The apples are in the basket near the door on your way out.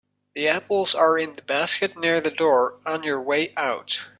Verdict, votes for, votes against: accepted, 2, 0